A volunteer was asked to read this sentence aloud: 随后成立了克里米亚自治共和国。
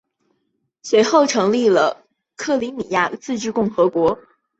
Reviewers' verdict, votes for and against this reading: accepted, 2, 0